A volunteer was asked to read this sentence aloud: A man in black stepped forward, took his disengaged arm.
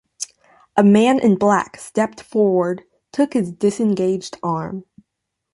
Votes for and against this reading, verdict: 2, 0, accepted